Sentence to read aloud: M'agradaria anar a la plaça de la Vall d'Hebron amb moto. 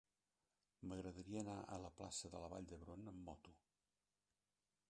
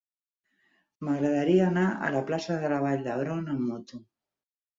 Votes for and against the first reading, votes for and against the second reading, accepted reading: 1, 2, 6, 2, second